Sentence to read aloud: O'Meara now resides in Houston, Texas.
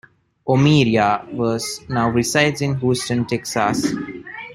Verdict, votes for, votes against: rejected, 0, 2